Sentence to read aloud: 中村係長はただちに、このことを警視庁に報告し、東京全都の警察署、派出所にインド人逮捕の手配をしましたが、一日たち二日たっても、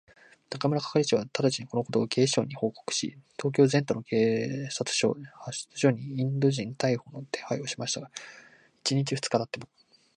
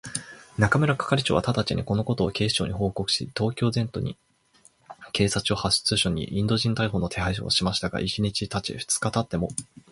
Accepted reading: second